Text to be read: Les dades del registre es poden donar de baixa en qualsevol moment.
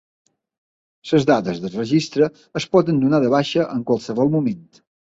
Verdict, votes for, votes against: rejected, 2, 3